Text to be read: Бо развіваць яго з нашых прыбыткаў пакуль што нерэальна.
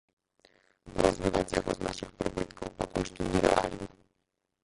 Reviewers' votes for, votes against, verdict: 0, 2, rejected